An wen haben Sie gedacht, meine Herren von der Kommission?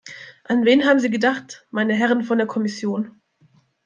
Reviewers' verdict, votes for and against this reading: accepted, 2, 0